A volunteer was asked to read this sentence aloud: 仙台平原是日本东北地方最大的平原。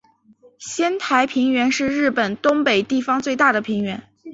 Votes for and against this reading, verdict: 3, 0, accepted